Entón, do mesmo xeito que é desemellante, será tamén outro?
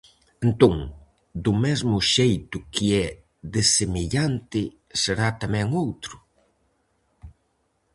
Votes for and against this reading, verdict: 4, 0, accepted